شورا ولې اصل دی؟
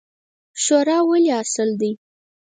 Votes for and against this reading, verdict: 2, 4, rejected